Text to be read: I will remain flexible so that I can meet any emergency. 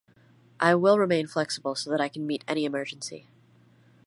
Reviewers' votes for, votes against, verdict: 0, 2, rejected